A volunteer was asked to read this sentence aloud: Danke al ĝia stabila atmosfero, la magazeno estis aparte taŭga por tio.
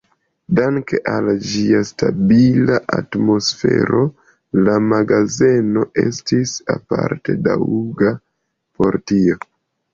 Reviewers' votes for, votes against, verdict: 0, 2, rejected